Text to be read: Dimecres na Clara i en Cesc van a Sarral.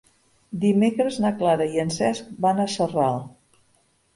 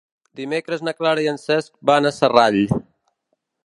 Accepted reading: first